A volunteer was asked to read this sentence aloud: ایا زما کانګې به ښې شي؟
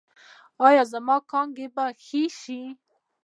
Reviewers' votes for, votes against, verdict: 1, 2, rejected